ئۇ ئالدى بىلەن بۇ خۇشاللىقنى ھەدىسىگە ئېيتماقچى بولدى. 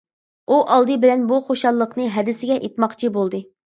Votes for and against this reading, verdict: 2, 0, accepted